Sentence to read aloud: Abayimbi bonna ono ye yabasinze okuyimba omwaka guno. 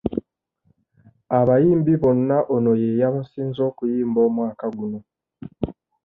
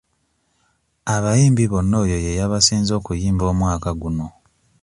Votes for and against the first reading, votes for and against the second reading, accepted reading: 2, 0, 1, 2, first